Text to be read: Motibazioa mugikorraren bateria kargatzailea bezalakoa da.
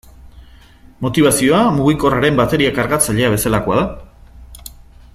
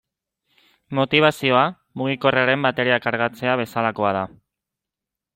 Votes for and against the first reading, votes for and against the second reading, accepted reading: 2, 0, 1, 2, first